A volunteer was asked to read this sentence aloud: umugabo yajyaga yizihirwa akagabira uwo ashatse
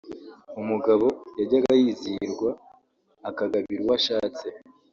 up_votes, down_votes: 1, 2